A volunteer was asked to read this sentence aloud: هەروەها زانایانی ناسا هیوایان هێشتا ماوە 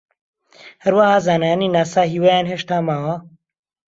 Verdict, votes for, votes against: accepted, 2, 0